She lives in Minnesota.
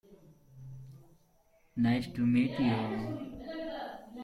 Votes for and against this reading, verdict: 0, 2, rejected